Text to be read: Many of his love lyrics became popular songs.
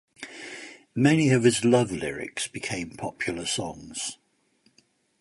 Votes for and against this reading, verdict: 2, 0, accepted